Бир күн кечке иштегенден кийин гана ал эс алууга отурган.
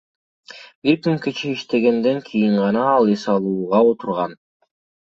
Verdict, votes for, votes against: accepted, 2, 1